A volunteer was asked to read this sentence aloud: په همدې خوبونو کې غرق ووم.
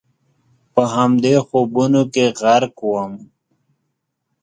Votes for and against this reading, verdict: 2, 0, accepted